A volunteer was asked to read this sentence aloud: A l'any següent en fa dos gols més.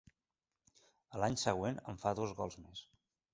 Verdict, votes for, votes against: accepted, 2, 0